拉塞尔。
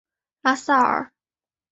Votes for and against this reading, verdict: 3, 0, accepted